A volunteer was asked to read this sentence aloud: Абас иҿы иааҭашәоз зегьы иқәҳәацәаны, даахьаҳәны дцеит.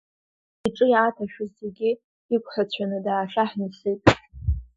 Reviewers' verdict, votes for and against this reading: rejected, 0, 2